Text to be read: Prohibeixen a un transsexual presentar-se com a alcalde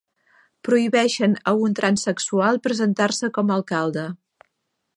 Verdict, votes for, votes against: accepted, 4, 0